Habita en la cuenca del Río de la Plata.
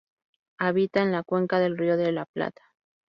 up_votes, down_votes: 2, 0